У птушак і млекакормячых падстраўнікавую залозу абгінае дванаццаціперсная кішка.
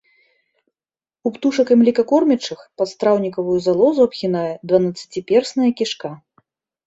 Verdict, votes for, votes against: accepted, 2, 0